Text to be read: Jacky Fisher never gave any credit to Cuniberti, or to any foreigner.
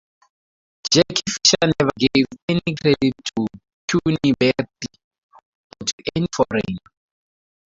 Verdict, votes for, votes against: rejected, 0, 2